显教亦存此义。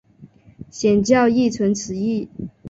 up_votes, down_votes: 2, 0